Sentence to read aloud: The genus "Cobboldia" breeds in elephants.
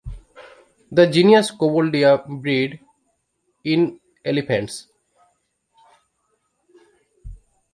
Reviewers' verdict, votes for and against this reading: rejected, 0, 2